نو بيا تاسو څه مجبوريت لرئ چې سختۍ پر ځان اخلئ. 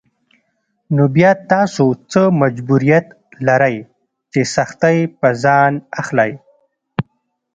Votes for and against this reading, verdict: 2, 0, accepted